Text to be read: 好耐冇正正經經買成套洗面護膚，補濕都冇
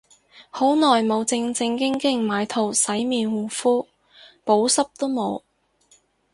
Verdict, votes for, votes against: rejected, 2, 2